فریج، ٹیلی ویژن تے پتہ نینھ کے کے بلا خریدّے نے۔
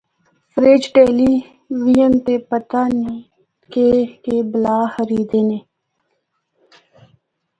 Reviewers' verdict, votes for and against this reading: accepted, 2, 0